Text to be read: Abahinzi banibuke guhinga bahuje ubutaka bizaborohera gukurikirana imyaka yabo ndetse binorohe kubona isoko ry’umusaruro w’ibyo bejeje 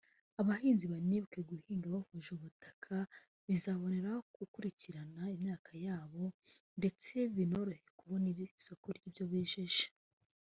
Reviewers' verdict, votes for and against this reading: rejected, 1, 2